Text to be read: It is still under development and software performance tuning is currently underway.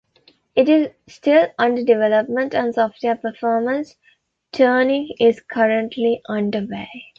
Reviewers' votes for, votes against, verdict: 2, 0, accepted